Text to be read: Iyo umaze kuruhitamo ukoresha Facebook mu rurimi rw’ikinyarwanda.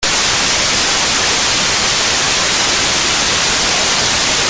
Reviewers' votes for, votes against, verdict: 0, 2, rejected